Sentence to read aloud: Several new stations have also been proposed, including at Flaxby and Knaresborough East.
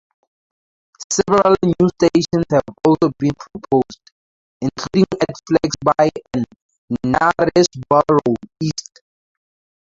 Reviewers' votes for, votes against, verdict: 0, 4, rejected